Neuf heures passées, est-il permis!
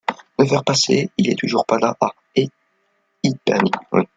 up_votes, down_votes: 0, 2